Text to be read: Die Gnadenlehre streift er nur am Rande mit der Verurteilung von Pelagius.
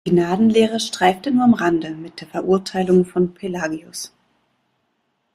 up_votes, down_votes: 0, 2